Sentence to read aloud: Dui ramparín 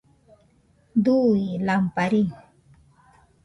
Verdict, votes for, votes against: rejected, 0, 2